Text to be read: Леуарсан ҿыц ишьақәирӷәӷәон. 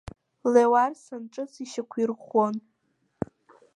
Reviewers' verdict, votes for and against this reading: rejected, 1, 2